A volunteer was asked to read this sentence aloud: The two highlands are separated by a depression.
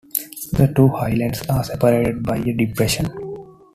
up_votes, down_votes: 2, 1